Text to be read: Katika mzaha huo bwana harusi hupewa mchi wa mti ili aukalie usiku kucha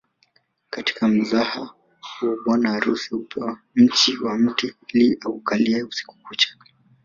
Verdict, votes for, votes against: rejected, 1, 2